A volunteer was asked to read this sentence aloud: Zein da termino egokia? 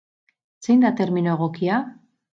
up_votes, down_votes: 4, 0